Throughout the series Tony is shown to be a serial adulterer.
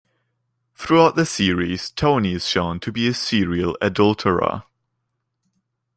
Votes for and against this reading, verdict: 2, 0, accepted